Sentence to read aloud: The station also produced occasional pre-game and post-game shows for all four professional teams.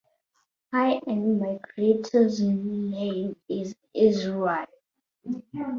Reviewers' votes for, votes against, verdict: 0, 2, rejected